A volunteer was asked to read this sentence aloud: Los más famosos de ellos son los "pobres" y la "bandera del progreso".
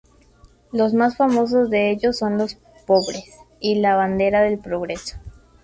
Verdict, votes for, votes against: accepted, 2, 0